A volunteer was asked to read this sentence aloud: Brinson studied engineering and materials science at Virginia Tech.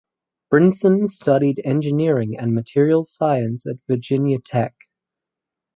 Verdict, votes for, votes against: accepted, 4, 0